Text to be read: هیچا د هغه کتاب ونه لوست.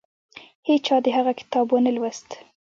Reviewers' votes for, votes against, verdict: 2, 0, accepted